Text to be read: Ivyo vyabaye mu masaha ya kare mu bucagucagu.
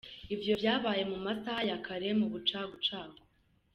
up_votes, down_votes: 2, 0